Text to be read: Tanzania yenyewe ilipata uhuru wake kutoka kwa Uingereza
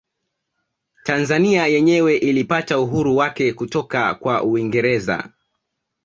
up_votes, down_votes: 2, 1